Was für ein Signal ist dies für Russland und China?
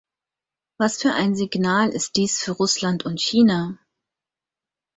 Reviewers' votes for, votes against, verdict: 4, 0, accepted